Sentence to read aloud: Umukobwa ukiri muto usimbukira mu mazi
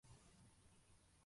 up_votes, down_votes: 0, 2